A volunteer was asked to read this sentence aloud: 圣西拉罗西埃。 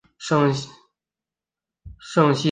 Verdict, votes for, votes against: rejected, 2, 6